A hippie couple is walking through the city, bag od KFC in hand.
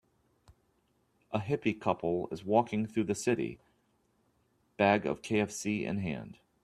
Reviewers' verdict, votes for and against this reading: rejected, 1, 2